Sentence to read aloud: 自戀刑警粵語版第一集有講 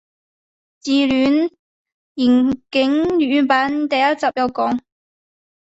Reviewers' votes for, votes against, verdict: 2, 0, accepted